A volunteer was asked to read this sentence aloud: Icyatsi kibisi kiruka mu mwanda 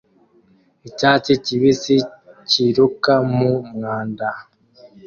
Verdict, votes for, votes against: accepted, 2, 0